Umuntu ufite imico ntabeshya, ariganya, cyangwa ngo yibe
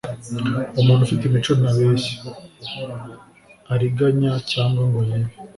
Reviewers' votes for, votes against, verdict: 2, 0, accepted